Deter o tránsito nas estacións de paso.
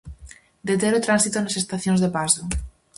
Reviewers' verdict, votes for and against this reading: accepted, 4, 0